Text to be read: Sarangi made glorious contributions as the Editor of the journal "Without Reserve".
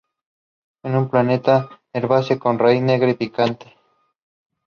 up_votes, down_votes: 0, 2